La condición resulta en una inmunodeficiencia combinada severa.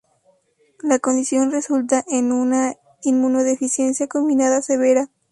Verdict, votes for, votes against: accepted, 2, 0